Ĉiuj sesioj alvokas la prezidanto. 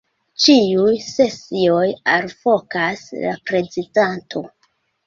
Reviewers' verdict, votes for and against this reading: accepted, 2, 1